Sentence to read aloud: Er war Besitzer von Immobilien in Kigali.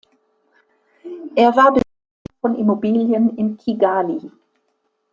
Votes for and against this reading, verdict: 0, 2, rejected